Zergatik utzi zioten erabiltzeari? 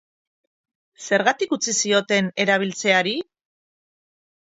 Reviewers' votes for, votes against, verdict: 4, 0, accepted